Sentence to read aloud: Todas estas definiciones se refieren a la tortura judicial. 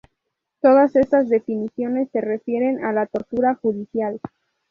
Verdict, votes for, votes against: accepted, 2, 0